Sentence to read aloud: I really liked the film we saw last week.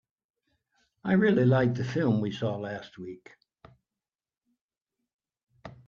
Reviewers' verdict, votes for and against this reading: accepted, 4, 0